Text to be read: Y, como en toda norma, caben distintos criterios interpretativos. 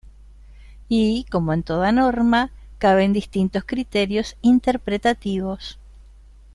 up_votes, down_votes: 1, 2